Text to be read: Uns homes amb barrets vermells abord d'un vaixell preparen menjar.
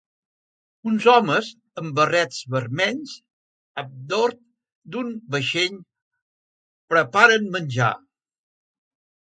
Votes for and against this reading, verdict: 0, 2, rejected